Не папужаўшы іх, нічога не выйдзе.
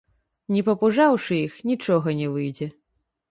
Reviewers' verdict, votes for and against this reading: rejected, 1, 2